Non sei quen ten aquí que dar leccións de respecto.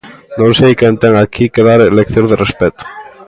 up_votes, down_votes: 1, 2